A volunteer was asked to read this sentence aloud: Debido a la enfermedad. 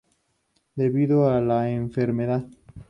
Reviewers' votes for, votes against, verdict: 2, 0, accepted